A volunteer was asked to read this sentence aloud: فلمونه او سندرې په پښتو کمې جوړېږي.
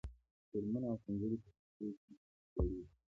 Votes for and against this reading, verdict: 0, 2, rejected